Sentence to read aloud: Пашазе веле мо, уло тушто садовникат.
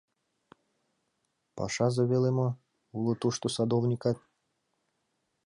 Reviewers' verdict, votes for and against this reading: accepted, 2, 0